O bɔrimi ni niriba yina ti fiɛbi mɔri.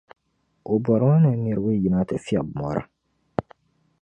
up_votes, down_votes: 2, 1